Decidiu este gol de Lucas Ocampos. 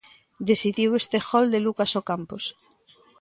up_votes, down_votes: 2, 0